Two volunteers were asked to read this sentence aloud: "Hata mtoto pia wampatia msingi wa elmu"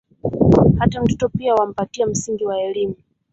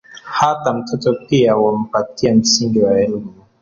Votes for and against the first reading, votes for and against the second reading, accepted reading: 2, 3, 3, 0, second